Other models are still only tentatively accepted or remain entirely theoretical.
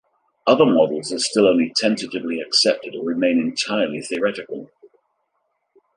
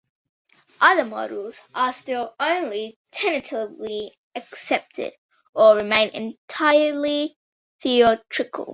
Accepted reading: first